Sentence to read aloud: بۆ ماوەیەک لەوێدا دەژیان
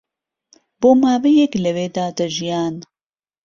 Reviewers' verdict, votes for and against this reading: accepted, 2, 0